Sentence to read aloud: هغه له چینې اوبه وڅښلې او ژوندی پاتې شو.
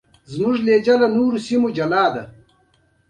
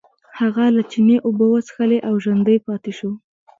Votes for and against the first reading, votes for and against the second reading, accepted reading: 0, 2, 2, 0, second